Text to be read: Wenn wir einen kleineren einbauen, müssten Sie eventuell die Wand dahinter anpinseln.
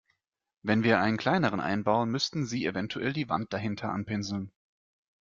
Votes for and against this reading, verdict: 2, 0, accepted